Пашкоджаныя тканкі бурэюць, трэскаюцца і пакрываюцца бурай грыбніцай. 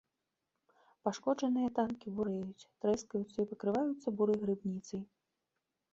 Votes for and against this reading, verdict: 1, 2, rejected